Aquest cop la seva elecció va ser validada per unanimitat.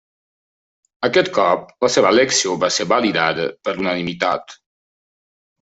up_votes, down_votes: 0, 2